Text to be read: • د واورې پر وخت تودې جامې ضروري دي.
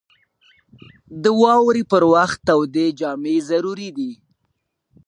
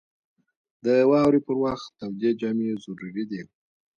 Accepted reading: second